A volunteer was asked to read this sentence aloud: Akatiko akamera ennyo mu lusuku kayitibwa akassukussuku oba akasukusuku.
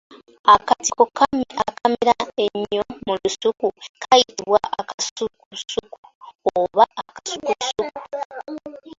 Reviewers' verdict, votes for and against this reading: rejected, 0, 2